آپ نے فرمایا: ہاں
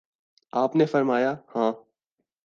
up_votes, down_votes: 2, 0